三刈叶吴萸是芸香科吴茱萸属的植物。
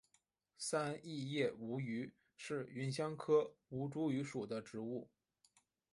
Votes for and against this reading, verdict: 2, 3, rejected